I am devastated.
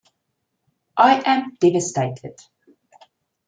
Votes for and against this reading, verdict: 2, 0, accepted